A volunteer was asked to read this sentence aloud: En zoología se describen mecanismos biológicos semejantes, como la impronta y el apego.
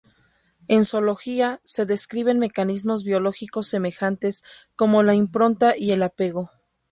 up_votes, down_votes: 2, 0